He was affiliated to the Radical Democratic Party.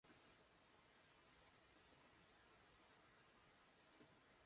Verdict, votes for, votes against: rejected, 0, 2